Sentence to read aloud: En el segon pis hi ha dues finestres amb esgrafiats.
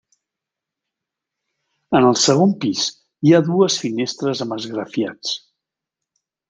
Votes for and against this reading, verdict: 2, 0, accepted